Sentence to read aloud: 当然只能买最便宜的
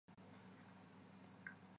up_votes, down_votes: 2, 3